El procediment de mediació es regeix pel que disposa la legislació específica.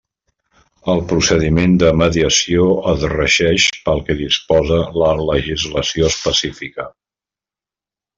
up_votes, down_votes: 2, 0